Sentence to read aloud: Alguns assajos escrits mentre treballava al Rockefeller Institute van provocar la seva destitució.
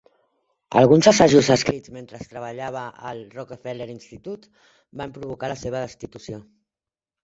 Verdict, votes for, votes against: rejected, 0, 2